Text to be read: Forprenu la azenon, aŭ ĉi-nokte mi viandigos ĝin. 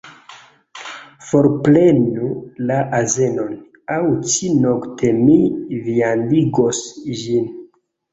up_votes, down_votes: 1, 2